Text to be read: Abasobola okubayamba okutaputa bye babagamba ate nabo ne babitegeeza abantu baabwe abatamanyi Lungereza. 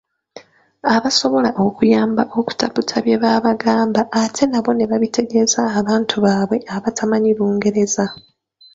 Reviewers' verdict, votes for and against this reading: rejected, 0, 2